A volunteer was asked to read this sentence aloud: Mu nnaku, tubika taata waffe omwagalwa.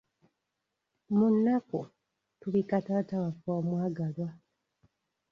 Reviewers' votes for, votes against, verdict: 3, 0, accepted